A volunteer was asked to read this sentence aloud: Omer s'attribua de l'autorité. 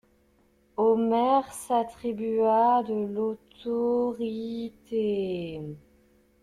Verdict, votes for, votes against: rejected, 1, 2